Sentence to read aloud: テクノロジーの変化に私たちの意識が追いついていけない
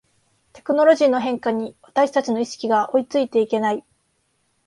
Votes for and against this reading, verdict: 3, 0, accepted